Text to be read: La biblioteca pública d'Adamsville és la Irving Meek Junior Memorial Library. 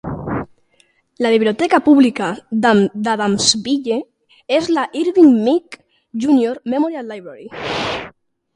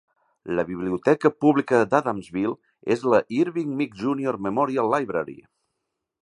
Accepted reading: second